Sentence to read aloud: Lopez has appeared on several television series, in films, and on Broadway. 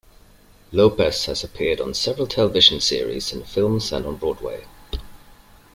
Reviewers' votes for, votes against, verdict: 2, 0, accepted